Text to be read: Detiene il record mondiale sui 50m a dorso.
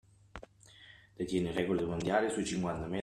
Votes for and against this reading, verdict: 0, 2, rejected